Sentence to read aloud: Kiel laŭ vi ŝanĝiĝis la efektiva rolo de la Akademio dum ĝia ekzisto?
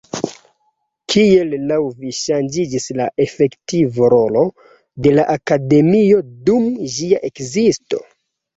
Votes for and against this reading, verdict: 2, 1, accepted